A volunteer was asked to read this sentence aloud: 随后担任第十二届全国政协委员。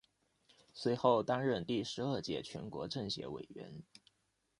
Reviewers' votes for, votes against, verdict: 2, 0, accepted